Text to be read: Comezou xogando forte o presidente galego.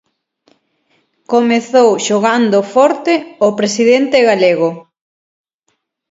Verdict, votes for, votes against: accepted, 6, 3